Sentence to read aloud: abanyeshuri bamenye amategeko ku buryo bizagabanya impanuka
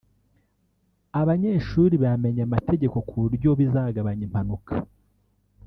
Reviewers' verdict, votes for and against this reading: rejected, 0, 2